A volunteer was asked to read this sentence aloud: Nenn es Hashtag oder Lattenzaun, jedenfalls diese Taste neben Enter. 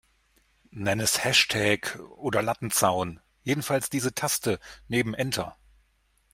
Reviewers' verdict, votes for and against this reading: accepted, 2, 0